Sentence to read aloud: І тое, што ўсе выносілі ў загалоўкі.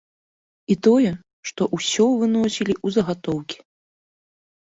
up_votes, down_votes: 0, 2